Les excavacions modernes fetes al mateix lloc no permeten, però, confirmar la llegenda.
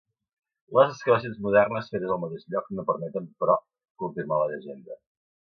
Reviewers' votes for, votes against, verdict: 1, 2, rejected